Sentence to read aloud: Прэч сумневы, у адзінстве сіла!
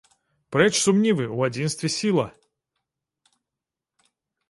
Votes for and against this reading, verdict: 1, 2, rejected